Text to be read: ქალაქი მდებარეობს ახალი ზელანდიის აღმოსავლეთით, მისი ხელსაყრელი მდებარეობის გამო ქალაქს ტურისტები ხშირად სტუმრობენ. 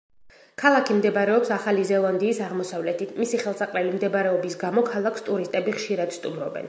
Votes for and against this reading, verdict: 2, 0, accepted